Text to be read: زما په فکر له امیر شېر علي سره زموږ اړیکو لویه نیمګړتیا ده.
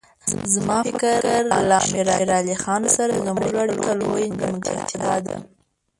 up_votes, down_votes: 1, 2